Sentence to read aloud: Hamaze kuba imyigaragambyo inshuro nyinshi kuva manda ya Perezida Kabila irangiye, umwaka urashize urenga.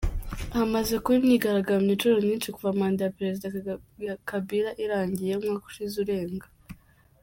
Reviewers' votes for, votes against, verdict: 1, 2, rejected